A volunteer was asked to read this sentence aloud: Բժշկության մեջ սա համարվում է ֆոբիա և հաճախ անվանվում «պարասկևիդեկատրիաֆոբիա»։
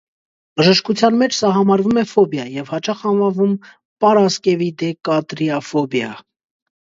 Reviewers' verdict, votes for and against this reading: accepted, 2, 0